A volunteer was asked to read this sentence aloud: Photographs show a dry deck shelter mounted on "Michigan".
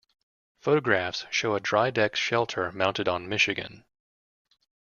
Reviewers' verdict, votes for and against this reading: accepted, 2, 0